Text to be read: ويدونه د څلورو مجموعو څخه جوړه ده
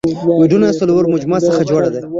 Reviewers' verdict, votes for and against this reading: rejected, 0, 2